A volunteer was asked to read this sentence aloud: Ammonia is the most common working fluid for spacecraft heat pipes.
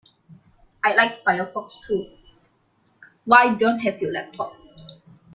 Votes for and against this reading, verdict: 0, 2, rejected